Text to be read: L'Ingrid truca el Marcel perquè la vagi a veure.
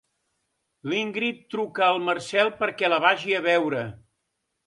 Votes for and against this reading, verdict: 2, 0, accepted